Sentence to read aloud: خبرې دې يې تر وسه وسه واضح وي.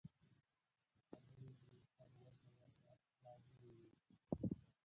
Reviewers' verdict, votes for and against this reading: rejected, 0, 5